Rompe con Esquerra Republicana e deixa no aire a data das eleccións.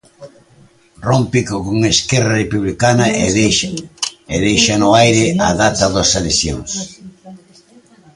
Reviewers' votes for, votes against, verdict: 0, 2, rejected